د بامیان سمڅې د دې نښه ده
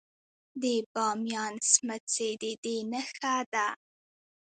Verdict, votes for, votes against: rejected, 1, 2